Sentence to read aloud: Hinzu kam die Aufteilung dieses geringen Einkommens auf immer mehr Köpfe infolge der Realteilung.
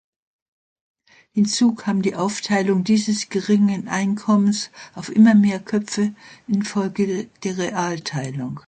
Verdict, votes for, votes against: accepted, 2, 1